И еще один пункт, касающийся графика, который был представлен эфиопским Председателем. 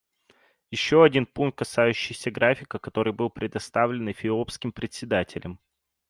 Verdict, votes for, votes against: rejected, 0, 2